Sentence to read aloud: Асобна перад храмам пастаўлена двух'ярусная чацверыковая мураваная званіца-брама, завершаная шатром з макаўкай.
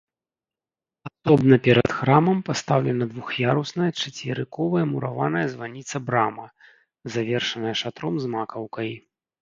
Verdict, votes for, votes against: rejected, 1, 2